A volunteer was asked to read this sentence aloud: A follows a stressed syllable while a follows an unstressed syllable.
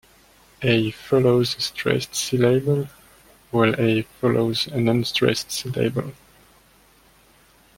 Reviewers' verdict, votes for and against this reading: accepted, 2, 1